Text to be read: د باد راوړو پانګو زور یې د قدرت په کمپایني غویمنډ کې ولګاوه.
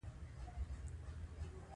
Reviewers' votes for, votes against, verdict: 1, 2, rejected